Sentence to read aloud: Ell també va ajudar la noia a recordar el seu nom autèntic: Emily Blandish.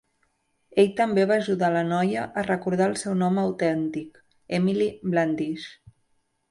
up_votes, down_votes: 2, 0